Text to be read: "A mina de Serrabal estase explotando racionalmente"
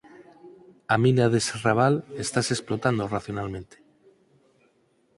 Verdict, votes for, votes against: accepted, 4, 0